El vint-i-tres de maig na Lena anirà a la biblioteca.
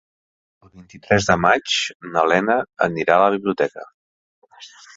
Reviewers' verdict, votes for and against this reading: rejected, 0, 2